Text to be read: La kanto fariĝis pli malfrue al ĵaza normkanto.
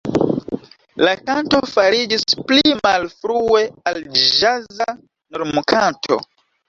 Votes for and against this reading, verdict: 2, 3, rejected